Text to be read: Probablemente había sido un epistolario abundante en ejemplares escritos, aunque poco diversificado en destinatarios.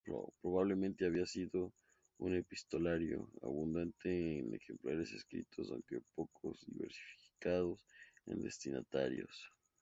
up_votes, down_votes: 4, 0